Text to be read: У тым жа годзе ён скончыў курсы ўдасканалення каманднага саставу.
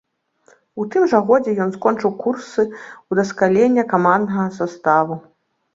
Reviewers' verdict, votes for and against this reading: rejected, 0, 2